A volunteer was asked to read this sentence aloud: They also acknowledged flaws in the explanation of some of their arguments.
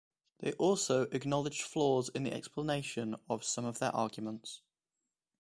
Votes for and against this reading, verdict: 2, 0, accepted